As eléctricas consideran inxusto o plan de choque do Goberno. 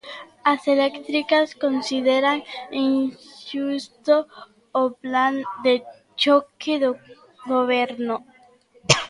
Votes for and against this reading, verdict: 0, 2, rejected